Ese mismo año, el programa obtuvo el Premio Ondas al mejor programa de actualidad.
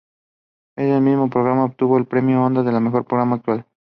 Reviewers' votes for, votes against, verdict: 0, 2, rejected